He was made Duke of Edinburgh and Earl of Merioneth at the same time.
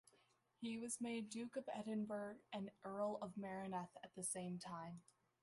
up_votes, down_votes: 2, 1